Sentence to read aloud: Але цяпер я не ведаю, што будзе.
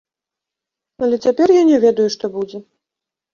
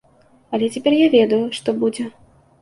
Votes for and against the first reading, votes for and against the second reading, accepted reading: 2, 0, 1, 2, first